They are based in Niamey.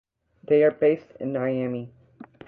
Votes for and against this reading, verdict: 2, 0, accepted